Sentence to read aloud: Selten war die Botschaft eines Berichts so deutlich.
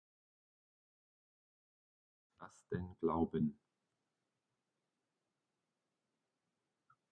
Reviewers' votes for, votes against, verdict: 0, 2, rejected